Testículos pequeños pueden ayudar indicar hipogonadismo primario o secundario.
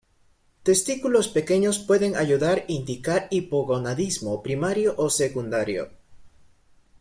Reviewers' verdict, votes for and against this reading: accepted, 2, 0